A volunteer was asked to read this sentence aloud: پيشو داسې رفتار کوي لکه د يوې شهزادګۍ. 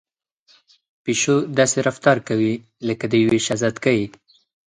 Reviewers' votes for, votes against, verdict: 4, 0, accepted